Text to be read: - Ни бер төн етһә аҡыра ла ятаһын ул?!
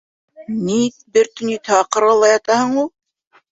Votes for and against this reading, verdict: 2, 0, accepted